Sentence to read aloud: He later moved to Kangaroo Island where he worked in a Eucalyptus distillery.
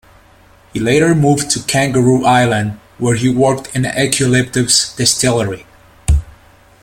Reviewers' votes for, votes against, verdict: 2, 0, accepted